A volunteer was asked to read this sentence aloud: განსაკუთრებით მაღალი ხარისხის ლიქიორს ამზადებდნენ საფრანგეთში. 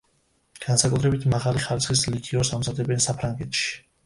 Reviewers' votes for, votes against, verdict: 0, 2, rejected